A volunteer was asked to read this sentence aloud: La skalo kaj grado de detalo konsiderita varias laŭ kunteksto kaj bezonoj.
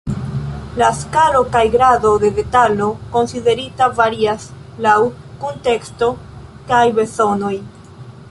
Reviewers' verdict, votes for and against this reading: accepted, 2, 1